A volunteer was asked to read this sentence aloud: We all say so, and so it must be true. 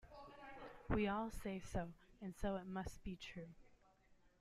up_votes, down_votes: 2, 0